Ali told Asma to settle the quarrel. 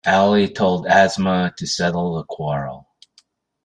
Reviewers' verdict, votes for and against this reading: accepted, 2, 0